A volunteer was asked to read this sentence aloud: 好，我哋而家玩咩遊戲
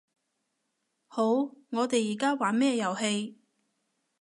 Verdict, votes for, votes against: accepted, 2, 0